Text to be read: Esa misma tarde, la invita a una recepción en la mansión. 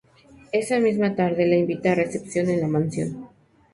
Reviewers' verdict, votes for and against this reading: rejected, 0, 2